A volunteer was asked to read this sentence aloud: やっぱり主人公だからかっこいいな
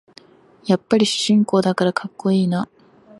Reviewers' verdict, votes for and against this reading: rejected, 4, 5